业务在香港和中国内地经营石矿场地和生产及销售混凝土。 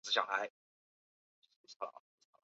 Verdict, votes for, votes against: rejected, 0, 2